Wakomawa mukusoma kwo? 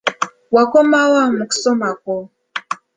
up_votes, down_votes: 2, 0